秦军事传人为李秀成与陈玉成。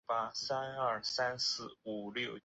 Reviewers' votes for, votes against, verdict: 1, 3, rejected